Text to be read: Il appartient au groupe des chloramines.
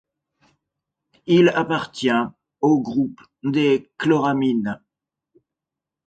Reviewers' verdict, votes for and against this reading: accepted, 2, 0